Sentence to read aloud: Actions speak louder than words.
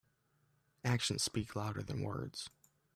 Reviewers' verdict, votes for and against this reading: accepted, 2, 0